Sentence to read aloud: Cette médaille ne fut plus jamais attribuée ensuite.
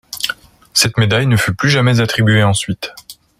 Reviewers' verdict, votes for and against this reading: accepted, 2, 0